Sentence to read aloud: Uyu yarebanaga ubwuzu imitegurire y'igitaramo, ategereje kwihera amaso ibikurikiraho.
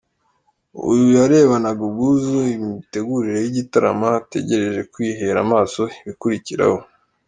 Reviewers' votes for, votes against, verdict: 2, 0, accepted